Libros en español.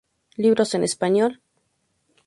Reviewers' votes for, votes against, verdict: 2, 0, accepted